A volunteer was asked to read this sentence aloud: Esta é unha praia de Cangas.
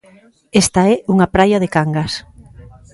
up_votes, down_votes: 4, 0